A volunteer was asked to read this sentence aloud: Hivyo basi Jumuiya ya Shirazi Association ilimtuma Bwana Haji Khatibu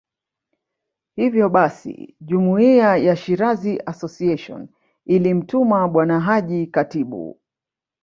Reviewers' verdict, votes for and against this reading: rejected, 0, 2